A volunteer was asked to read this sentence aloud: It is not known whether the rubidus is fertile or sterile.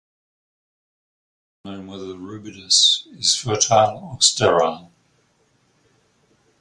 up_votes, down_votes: 0, 4